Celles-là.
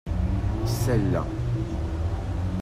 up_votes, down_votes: 2, 0